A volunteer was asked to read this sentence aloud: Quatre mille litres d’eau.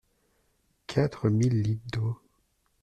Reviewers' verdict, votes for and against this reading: rejected, 1, 2